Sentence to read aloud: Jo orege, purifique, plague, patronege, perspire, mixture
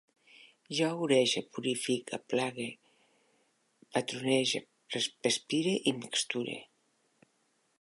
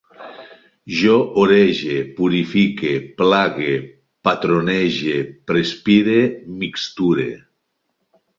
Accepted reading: second